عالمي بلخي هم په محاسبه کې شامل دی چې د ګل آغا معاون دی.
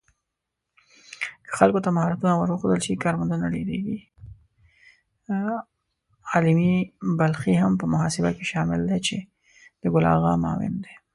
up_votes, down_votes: 0, 2